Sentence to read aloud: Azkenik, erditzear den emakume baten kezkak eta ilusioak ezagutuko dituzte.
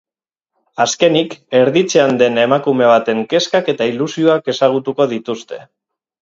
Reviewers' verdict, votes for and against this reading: accepted, 6, 0